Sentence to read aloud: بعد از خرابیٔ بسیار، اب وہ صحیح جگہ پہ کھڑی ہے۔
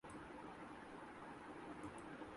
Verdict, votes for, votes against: rejected, 0, 2